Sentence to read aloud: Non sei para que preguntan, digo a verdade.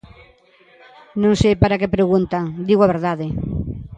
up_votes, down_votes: 1, 2